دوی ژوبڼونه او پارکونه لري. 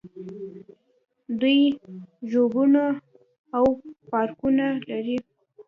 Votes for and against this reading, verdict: 1, 2, rejected